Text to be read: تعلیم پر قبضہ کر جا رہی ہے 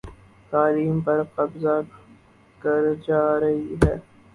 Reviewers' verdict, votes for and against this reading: rejected, 2, 2